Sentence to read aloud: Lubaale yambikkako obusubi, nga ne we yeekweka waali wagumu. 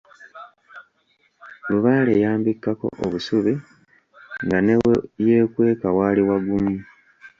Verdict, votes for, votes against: rejected, 1, 2